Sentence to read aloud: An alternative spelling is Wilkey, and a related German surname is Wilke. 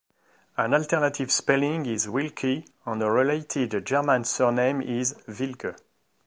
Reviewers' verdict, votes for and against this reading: accepted, 2, 1